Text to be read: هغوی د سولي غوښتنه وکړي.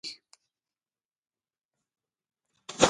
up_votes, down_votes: 0, 2